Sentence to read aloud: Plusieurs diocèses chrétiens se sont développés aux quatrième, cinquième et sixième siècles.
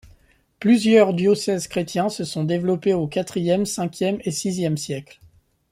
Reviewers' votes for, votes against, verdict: 2, 0, accepted